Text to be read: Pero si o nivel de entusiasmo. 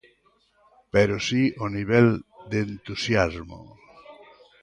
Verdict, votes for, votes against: rejected, 0, 2